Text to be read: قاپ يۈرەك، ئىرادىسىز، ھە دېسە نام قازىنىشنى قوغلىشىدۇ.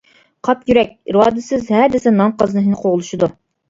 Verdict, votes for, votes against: rejected, 0, 2